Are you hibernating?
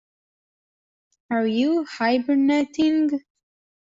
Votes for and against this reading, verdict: 2, 0, accepted